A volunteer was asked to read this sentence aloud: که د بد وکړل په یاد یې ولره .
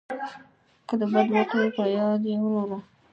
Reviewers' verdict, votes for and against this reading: accepted, 2, 0